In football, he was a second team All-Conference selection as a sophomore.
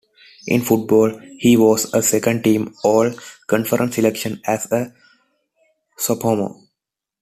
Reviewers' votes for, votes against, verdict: 2, 1, accepted